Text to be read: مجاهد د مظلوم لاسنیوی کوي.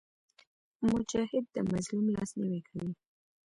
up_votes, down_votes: 2, 1